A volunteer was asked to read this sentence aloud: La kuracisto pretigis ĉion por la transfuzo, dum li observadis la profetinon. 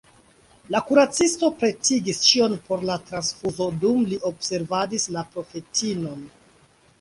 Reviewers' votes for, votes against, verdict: 1, 2, rejected